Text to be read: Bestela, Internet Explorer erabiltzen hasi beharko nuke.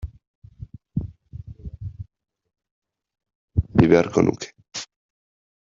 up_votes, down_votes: 0, 2